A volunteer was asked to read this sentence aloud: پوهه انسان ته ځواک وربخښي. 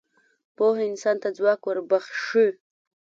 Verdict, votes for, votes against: accepted, 2, 0